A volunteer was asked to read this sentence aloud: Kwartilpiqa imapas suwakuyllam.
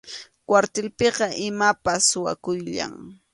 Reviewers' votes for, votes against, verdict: 2, 0, accepted